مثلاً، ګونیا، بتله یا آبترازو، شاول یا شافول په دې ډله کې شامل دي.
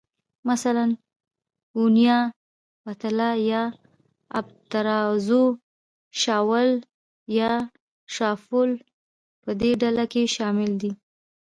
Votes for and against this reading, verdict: 1, 2, rejected